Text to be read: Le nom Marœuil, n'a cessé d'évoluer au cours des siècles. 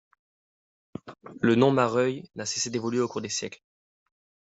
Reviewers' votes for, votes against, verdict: 2, 0, accepted